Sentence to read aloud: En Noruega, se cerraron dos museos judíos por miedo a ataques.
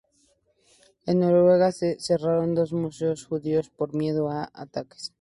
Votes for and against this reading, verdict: 2, 0, accepted